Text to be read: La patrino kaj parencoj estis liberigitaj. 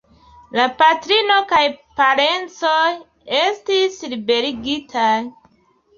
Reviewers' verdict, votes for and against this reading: accepted, 2, 0